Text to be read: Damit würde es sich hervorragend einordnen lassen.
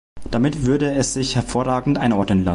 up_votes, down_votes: 0, 2